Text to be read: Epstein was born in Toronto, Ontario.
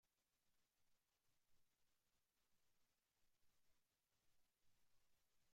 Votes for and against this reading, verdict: 0, 2, rejected